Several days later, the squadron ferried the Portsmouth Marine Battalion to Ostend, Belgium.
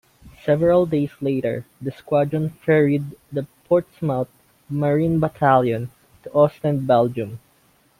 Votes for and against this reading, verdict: 2, 0, accepted